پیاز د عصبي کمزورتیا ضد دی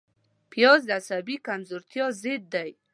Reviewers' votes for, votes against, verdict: 2, 0, accepted